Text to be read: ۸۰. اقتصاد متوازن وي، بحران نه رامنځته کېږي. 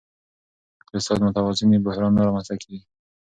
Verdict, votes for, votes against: rejected, 0, 2